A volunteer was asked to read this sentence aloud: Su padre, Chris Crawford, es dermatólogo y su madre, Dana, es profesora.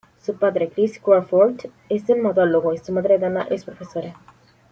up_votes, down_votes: 1, 2